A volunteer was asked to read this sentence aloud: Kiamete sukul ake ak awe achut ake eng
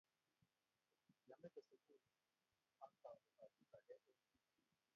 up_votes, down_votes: 1, 2